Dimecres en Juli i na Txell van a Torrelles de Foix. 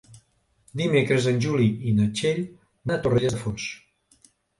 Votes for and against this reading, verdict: 2, 3, rejected